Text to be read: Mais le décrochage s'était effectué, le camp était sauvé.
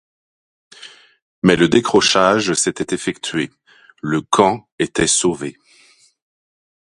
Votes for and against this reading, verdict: 2, 0, accepted